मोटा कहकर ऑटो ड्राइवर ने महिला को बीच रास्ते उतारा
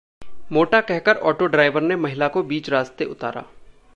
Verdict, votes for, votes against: accepted, 2, 0